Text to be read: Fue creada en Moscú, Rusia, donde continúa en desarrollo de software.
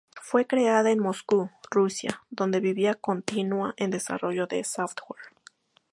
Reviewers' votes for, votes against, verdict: 2, 4, rejected